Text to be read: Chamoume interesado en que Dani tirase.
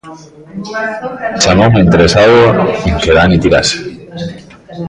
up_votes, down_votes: 0, 2